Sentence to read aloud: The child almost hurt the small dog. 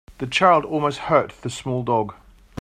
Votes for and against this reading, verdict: 2, 0, accepted